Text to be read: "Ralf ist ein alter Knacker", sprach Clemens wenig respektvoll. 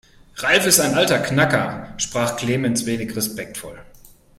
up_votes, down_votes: 5, 0